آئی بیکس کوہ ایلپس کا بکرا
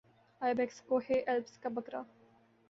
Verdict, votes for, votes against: accepted, 2, 0